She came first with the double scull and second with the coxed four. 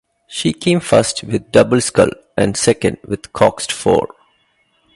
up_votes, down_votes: 2, 0